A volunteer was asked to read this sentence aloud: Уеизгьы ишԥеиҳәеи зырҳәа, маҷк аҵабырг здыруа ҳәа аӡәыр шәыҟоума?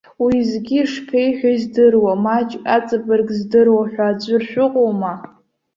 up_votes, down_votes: 0, 2